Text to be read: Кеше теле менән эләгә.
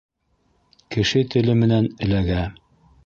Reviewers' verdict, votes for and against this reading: accepted, 2, 0